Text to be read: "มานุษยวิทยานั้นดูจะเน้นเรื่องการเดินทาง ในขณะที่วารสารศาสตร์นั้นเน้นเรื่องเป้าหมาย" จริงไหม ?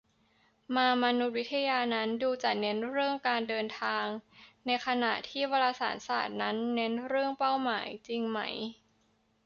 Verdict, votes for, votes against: rejected, 0, 2